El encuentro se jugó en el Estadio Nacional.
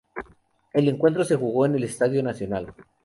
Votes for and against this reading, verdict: 2, 0, accepted